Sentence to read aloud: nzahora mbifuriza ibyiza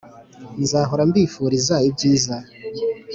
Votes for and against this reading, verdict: 3, 0, accepted